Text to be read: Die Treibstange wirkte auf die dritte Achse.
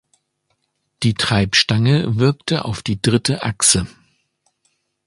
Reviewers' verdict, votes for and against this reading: accepted, 2, 0